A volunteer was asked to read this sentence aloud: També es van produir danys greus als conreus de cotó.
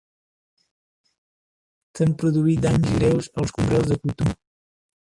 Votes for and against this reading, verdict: 0, 3, rejected